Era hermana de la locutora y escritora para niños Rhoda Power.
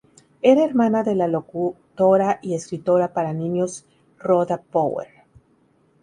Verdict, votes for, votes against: rejected, 0, 2